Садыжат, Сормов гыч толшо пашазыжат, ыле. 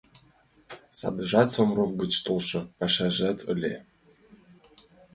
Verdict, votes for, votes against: accepted, 2, 0